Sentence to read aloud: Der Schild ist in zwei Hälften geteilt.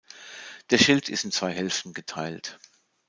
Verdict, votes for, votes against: rejected, 0, 2